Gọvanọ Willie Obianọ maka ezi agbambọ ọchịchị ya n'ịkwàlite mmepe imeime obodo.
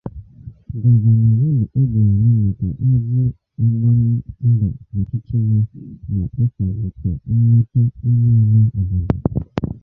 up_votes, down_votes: 0, 7